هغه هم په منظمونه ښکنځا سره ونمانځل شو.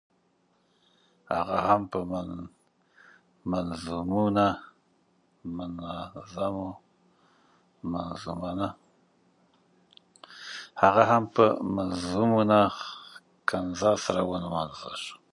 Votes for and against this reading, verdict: 0, 2, rejected